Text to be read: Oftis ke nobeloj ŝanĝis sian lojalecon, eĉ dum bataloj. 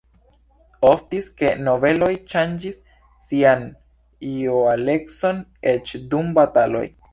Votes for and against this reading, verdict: 2, 0, accepted